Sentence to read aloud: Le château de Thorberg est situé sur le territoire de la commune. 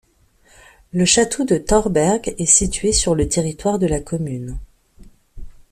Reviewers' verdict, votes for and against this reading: accepted, 2, 0